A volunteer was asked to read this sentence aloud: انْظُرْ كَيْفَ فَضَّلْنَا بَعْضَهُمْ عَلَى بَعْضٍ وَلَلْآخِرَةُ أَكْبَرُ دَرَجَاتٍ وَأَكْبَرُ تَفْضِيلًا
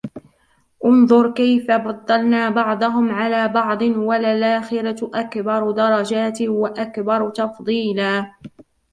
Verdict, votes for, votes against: rejected, 1, 3